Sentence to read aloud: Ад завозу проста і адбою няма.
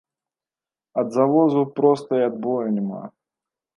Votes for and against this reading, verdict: 2, 0, accepted